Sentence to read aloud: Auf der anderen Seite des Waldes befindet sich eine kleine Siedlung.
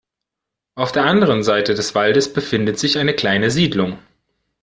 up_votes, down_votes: 2, 0